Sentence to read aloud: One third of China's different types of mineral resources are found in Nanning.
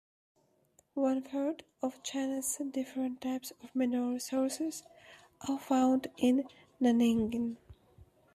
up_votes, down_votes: 2, 0